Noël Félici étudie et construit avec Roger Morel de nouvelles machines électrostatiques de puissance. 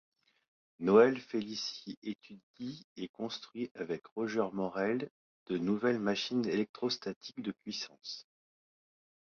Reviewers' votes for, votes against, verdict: 1, 2, rejected